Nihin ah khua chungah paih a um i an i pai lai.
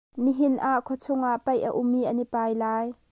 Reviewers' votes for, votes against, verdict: 1, 2, rejected